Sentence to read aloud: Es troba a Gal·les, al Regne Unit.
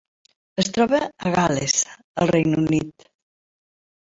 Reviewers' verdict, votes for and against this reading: accepted, 3, 0